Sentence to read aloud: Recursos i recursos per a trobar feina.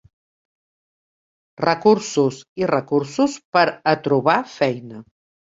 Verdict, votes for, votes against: accepted, 3, 0